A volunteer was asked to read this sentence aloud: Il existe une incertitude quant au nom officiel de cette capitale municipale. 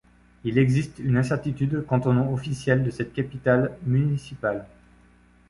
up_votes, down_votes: 2, 0